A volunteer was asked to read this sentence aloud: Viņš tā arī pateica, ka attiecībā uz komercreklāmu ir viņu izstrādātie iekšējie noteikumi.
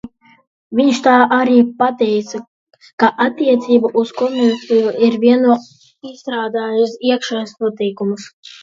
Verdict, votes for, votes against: rejected, 0, 2